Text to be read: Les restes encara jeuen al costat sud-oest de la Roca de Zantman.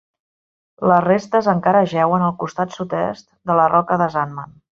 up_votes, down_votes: 1, 3